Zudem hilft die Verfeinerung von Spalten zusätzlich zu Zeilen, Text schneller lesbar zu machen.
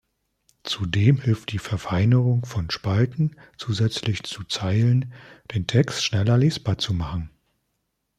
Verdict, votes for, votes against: rejected, 2, 3